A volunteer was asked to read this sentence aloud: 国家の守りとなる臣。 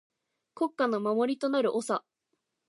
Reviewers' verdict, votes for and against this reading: rejected, 0, 2